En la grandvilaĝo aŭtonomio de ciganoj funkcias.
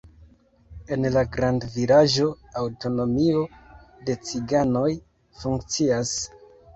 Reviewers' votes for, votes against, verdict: 0, 2, rejected